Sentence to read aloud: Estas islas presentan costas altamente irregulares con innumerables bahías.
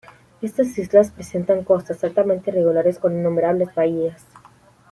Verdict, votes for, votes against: rejected, 1, 2